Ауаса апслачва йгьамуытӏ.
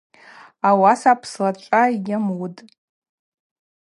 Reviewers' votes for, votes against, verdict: 0, 2, rejected